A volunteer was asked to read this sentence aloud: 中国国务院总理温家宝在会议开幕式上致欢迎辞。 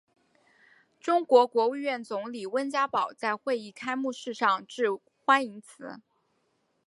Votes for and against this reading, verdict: 3, 0, accepted